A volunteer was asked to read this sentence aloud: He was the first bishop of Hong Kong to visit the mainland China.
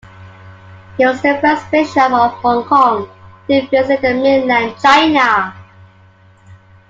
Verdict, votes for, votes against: accepted, 2, 0